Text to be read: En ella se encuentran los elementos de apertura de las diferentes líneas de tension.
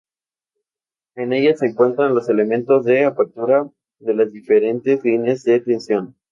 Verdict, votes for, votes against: accepted, 4, 0